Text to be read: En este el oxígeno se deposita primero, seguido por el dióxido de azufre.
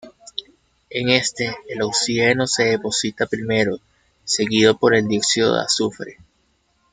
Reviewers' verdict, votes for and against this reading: rejected, 0, 2